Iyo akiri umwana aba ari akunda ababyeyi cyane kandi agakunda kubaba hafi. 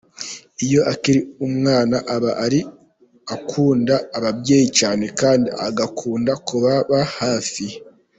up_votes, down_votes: 1, 2